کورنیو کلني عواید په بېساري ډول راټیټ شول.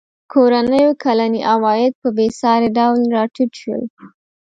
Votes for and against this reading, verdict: 3, 0, accepted